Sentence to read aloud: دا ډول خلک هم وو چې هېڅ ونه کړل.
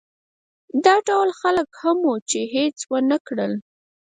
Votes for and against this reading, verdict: 4, 0, accepted